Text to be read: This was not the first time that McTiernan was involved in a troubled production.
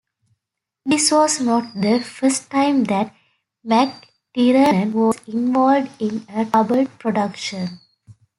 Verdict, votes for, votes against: rejected, 0, 2